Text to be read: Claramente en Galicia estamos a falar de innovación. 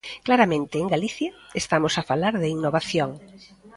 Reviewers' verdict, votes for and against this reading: accepted, 2, 0